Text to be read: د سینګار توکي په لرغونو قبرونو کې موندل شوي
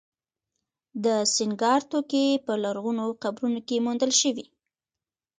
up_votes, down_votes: 2, 1